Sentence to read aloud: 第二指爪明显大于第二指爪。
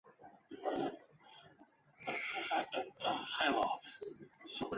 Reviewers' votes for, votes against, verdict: 1, 2, rejected